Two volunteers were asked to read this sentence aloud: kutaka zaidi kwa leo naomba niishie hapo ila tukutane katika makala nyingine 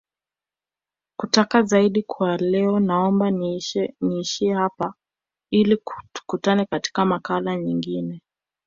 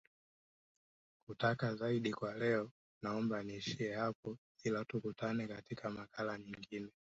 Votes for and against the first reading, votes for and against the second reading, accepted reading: 1, 2, 3, 1, second